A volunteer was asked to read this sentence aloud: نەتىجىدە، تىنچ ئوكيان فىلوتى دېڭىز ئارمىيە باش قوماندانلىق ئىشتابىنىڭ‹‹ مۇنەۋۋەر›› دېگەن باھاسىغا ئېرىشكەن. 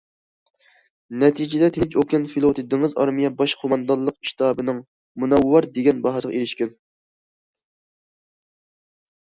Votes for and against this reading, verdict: 0, 2, rejected